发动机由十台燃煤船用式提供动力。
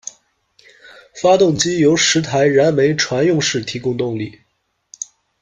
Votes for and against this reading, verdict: 2, 0, accepted